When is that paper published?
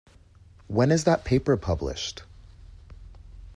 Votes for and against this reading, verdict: 2, 0, accepted